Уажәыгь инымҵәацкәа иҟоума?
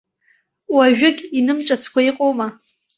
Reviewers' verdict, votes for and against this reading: accepted, 2, 0